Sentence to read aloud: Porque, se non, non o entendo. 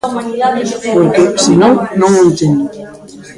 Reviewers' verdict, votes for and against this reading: rejected, 0, 2